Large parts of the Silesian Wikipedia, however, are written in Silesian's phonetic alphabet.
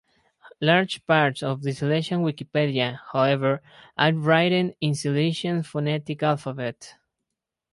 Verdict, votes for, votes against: rejected, 2, 12